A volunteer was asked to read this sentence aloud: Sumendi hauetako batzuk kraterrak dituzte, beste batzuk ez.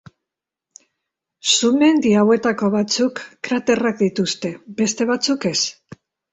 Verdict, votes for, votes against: accepted, 2, 0